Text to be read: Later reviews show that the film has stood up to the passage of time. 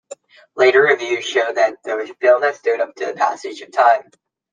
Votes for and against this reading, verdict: 0, 2, rejected